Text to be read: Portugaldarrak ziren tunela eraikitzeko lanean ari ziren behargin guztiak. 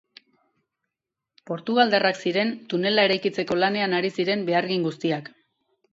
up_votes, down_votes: 4, 0